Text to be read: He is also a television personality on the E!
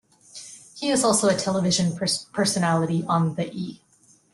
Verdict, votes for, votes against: rejected, 1, 2